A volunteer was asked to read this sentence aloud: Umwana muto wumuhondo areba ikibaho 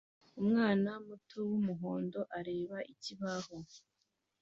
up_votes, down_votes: 2, 0